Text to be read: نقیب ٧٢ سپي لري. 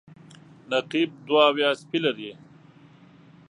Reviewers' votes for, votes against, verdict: 0, 2, rejected